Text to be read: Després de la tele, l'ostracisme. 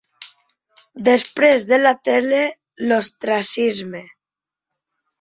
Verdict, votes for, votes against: accepted, 3, 0